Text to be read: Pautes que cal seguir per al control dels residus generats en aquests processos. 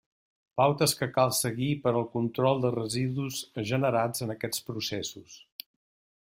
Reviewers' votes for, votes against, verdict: 2, 0, accepted